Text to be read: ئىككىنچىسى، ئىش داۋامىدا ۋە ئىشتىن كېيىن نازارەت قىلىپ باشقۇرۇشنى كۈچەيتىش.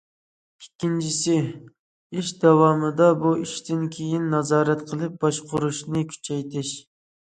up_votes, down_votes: 0, 2